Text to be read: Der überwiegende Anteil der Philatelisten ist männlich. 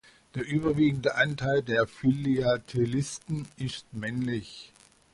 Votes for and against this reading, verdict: 1, 2, rejected